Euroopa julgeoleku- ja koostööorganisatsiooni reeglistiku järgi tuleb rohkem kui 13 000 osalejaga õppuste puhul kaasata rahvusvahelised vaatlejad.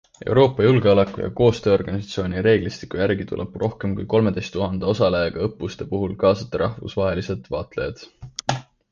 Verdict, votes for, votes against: rejected, 0, 2